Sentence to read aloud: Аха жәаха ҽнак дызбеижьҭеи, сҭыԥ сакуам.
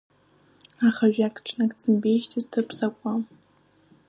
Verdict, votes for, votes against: rejected, 0, 2